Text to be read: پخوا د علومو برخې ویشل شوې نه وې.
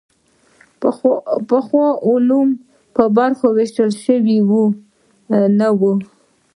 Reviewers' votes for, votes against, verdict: 0, 2, rejected